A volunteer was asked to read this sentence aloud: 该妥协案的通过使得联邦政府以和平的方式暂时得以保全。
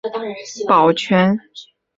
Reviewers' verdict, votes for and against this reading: rejected, 1, 2